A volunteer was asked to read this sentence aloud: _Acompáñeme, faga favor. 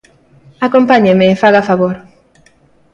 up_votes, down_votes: 2, 0